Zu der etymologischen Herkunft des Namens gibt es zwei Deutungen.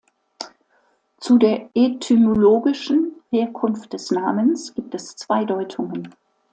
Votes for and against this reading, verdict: 2, 0, accepted